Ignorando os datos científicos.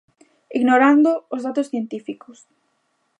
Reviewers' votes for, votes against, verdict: 3, 0, accepted